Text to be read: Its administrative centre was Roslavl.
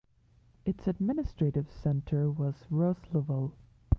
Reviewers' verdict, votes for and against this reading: rejected, 1, 2